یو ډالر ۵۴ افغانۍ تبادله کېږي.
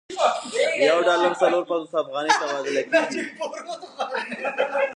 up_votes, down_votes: 0, 2